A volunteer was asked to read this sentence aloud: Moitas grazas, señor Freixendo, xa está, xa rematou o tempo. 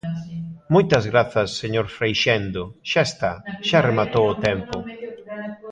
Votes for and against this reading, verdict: 1, 2, rejected